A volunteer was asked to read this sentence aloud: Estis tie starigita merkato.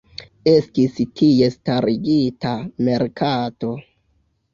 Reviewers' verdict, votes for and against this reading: rejected, 1, 2